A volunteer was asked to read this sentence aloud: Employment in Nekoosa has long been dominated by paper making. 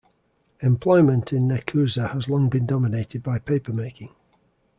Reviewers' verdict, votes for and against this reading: accepted, 2, 0